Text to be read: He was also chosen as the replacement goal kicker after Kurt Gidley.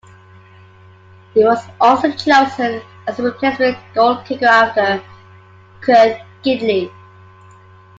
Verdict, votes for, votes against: accepted, 2, 1